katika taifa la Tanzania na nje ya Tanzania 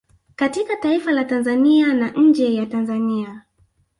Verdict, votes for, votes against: accepted, 2, 0